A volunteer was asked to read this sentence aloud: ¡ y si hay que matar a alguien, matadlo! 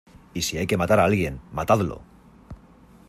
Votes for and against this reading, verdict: 2, 0, accepted